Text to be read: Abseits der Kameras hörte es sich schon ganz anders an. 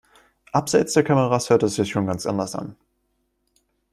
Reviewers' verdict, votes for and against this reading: accepted, 2, 1